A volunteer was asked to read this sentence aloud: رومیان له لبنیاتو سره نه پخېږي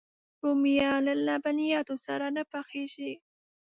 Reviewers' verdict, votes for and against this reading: accepted, 2, 0